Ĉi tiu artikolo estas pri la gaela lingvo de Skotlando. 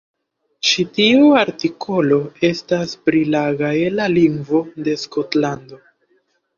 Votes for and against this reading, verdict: 2, 0, accepted